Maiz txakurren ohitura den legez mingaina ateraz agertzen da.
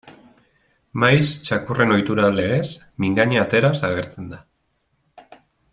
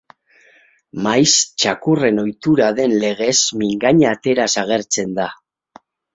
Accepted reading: second